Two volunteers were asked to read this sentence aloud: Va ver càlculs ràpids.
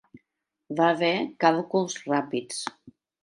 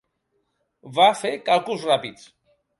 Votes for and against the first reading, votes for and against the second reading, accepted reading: 2, 0, 0, 2, first